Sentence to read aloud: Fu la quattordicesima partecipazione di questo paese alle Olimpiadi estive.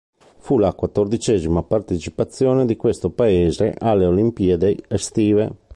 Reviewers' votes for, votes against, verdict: 0, 2, rejected